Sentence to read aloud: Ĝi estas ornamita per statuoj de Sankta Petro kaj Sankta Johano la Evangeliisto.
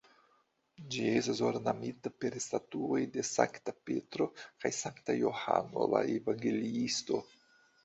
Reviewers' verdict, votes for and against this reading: accepted, 2, 0